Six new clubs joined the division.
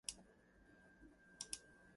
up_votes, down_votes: 0, 2